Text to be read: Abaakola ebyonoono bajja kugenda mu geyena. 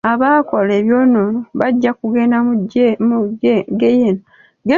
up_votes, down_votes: 1, 2